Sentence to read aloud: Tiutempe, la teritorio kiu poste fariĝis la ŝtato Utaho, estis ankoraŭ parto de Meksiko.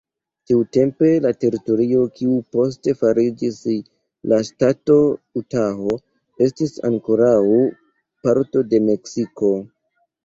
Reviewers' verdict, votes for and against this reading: rejected, 0, 2